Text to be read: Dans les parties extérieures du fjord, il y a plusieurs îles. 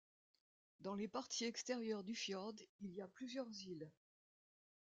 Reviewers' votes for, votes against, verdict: 1, 2, rejected